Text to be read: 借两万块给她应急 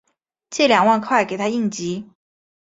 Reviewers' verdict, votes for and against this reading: accepted, 3, 0